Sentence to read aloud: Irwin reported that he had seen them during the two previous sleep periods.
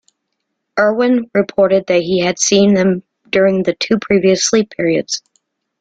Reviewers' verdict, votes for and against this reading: accepted, 2, 0